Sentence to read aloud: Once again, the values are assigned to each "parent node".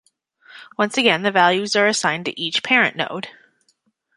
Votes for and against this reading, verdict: 1, 2, rejected